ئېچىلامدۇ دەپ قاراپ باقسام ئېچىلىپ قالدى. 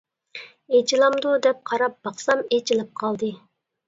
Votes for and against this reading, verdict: 2, 0, accepted